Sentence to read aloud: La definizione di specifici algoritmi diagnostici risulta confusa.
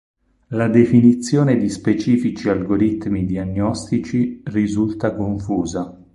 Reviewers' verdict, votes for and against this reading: accepted, 6, 0